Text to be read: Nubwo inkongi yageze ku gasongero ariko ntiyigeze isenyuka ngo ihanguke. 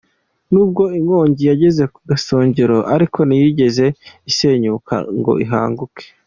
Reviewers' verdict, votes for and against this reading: accepted, 2, 1